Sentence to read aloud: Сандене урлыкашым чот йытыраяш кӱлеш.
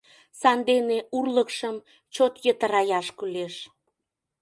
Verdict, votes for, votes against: rejected, 0, 2